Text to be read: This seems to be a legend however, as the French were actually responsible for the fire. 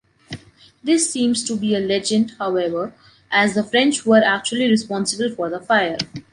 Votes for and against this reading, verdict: 2, 0, accepted